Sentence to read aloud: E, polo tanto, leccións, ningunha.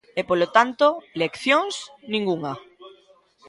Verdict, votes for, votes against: accepted, 2, 1